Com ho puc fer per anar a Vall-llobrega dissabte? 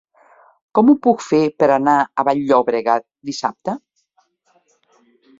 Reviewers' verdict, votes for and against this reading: rejected, 1, 2